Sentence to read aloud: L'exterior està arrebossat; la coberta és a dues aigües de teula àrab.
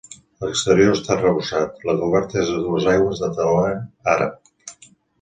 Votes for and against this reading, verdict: 1, 2, rejected